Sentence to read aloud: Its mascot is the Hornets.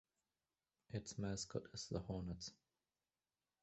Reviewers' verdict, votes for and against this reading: rejected, 0, 2